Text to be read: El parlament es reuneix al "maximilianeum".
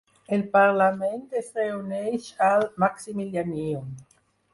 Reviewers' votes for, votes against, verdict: 2, 4, rejected